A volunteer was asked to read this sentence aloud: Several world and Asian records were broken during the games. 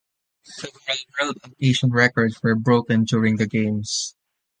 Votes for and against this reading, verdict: 1, 2, rejected